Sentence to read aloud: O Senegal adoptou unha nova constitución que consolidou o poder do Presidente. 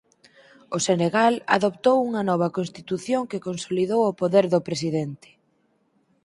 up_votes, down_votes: 4, 0